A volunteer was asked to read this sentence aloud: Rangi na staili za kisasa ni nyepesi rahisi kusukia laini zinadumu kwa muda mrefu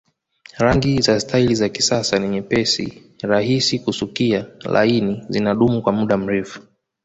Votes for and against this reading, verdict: 1, 2, rejected